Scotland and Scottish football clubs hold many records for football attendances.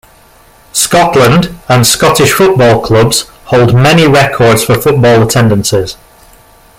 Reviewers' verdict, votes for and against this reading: rejected, 0, 2